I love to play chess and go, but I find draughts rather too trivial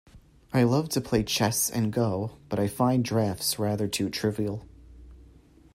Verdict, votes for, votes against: accepted, 2, 0